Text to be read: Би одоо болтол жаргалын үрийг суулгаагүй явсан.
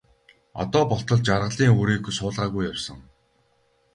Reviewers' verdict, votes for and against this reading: rejected, 0, 2